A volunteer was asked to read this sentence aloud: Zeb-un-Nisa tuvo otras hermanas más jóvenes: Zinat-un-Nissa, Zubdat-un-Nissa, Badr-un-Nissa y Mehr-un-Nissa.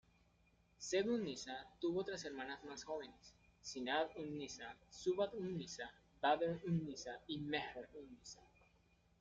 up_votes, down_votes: 2, 1